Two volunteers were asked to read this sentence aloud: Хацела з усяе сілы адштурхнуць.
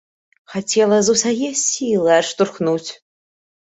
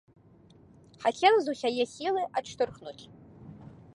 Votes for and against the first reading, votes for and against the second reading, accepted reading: 2, 1, 0, 2, first